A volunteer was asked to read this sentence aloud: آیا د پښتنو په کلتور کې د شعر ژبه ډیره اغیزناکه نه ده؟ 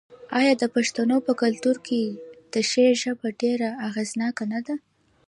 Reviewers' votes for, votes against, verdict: 2, 0, accepted